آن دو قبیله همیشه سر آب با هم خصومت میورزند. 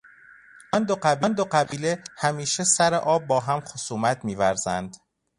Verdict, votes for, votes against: rejected, 1, 2